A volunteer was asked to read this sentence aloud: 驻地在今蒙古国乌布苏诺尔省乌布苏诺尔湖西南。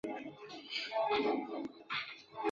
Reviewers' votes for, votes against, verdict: 0, 2, rejected